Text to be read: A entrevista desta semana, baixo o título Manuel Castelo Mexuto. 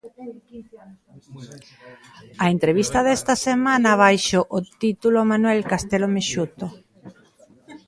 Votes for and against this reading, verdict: 1, 2, rejected